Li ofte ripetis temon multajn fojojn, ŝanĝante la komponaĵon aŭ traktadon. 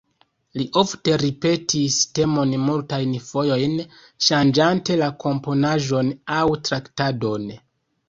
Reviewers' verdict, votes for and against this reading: rejected, 1, 2